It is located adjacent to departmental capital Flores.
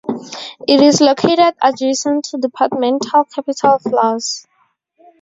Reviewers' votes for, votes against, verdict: 0, 4, rejected